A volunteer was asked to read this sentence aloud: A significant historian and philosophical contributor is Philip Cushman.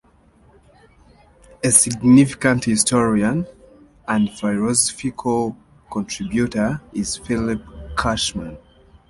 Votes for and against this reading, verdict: 2, 0, accepted